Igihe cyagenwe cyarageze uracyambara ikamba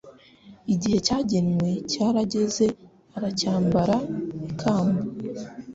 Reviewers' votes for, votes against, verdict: 0, 2, rejected